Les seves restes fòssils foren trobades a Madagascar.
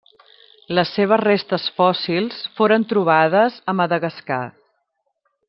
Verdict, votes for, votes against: accepted, 3, 0